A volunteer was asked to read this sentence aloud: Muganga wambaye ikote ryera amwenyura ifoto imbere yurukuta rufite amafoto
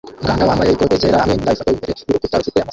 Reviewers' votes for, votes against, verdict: 0, 2, rejected